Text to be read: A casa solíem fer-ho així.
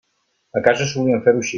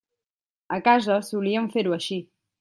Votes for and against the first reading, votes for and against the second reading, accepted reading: 1, 2, 2, 1, second